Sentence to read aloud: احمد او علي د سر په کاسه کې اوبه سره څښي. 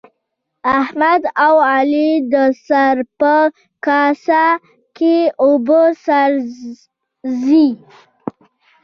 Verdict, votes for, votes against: rejected, 1, 2